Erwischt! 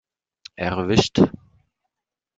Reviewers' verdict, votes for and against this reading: accepted, 2, 0